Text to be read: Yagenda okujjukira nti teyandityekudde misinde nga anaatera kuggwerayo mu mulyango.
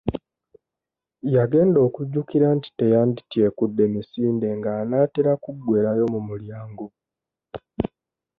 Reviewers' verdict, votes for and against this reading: accepted, 2, 0